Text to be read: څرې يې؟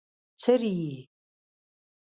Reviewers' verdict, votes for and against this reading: accepted, 2, 1